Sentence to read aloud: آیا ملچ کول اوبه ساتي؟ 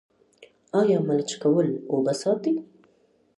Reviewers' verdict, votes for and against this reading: accepted, 2, 1